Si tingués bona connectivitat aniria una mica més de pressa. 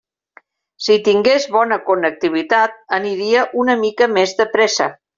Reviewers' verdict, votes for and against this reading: accepted, 3, 0